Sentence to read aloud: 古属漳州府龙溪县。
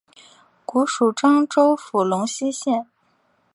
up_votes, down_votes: 2, 0